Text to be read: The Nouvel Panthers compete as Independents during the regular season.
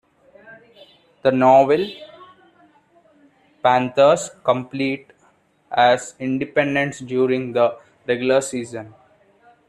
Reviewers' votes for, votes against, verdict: 0, 2, rejected